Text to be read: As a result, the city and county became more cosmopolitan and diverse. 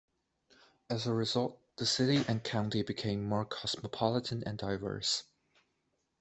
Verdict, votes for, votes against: accepted, 2, 0